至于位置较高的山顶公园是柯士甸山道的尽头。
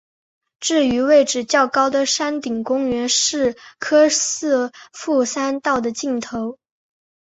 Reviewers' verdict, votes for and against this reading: accepted, 2, 1